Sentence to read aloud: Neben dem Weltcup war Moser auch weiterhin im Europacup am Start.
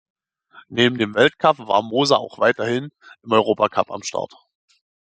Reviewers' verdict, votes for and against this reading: accepted, 2, 0